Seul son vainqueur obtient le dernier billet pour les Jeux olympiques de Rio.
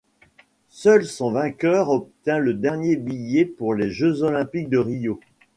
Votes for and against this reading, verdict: 2, 0, accepted